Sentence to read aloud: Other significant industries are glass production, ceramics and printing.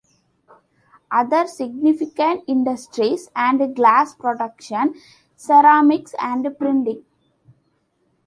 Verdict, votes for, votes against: accepted, 2, 0